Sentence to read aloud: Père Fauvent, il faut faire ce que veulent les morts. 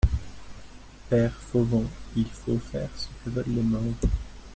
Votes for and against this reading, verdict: 1, 2, rejected